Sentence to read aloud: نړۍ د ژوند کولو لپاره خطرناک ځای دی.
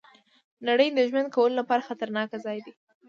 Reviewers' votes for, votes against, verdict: 0, 2, rejected